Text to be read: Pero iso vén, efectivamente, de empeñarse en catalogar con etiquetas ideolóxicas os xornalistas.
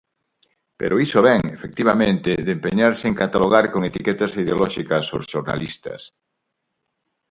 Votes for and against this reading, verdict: 4, 0, accepted